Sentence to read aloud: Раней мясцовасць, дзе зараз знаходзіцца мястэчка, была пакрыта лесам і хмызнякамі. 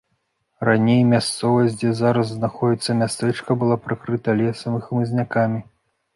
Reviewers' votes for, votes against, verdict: 1, 2, rejected